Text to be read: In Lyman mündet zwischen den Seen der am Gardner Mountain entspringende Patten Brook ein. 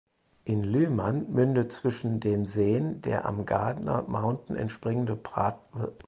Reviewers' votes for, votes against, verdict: 0, 4, rejected